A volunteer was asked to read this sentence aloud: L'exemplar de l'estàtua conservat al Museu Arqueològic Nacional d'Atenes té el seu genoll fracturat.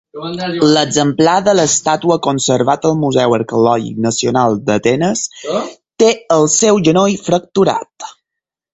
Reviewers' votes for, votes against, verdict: 0, 4, rejected